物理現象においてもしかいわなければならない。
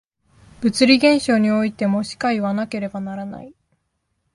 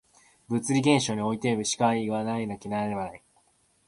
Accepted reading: first